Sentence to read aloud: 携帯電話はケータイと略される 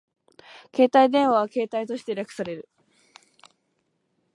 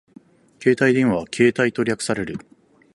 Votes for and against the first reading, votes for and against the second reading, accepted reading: 0, 2, 4, 0, second